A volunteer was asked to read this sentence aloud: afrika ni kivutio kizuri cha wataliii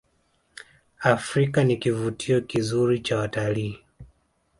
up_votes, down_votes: 2, 0